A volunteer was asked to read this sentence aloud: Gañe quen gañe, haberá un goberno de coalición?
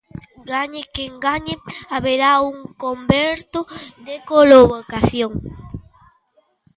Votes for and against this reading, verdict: 0, 2, rejected